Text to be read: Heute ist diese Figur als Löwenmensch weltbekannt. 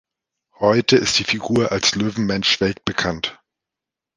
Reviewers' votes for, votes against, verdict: 1, 3, rejected